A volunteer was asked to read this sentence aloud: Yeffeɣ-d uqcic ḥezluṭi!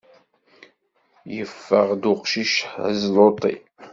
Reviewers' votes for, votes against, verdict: 2, 0, accepted